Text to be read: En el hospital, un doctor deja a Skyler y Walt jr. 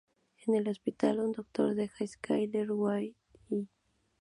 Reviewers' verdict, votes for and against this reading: rejected, 0, 2